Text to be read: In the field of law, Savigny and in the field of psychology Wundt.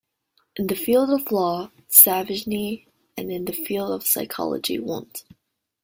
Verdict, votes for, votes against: rejected, 0, 2